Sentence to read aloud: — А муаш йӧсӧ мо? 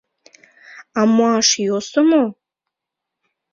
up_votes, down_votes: 0, 2